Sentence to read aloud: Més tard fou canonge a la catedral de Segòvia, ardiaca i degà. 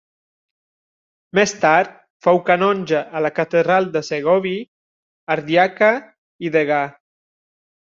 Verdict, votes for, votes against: rejected, 0, 2